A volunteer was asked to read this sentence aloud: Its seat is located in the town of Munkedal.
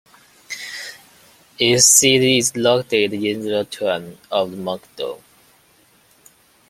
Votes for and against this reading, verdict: 1, 2, rejected